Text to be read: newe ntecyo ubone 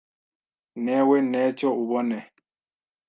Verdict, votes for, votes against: rejected, 1, 2